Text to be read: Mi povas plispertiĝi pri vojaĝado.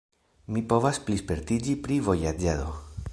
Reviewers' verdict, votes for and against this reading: rejected, 0, 2